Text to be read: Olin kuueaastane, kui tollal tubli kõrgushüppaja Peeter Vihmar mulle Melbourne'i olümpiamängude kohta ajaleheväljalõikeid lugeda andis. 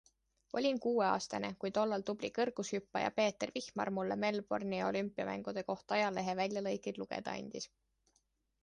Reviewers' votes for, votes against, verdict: 2, 0, accepted